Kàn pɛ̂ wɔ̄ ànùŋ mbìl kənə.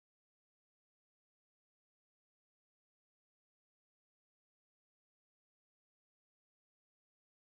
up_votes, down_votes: 0, 2